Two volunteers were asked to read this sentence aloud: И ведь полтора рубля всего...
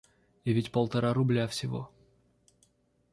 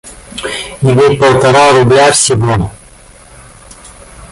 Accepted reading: first